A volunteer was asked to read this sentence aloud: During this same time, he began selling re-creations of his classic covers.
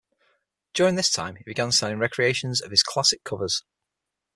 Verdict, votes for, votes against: rejected, 3, 6